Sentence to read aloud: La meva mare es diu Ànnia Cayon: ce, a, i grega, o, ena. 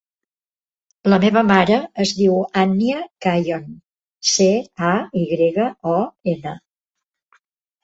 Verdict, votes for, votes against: rejected, 1, 2